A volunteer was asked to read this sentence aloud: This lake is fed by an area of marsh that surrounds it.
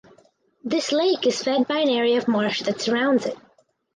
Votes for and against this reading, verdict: 4, 0, accepted